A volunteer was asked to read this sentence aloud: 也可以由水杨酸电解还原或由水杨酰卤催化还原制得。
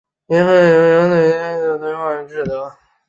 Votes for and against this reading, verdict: 0, 2, rejected